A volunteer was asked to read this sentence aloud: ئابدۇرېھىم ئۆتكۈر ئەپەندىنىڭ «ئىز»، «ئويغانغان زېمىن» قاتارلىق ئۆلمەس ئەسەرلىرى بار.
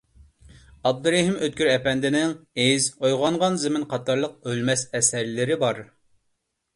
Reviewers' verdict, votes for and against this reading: accepted, 2, 0